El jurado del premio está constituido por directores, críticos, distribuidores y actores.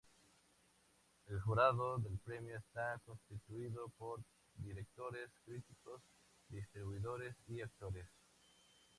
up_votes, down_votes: 2, 2